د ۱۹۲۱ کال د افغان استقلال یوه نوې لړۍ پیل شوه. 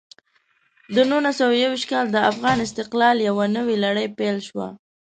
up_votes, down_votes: 0, 2